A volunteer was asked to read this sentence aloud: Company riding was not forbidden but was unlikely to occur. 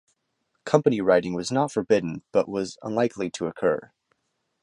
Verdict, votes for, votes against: accepted, 2, 0